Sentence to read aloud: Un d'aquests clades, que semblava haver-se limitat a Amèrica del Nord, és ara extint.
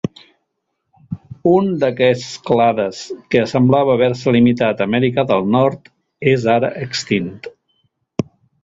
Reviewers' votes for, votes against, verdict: 2, 0, accepted